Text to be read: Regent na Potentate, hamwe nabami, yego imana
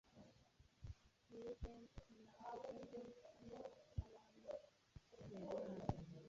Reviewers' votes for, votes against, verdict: 2, 1, accepted